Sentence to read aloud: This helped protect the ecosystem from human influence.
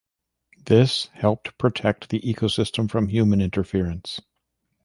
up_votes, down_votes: 1, 2